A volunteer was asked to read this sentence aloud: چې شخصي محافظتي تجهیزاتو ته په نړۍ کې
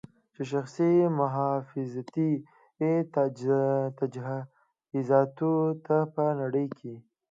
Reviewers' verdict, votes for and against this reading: accepted, 2, 0